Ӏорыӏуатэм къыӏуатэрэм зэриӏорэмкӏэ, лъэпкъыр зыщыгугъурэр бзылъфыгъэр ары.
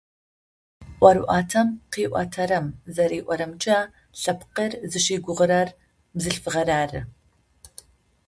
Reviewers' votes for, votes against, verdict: 2, 0, accepted